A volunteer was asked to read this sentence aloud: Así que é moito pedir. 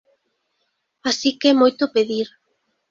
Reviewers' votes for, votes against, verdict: 2, 0, accepted